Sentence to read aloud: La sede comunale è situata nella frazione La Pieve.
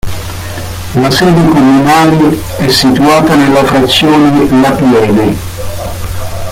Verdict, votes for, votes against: rejected, 0, 2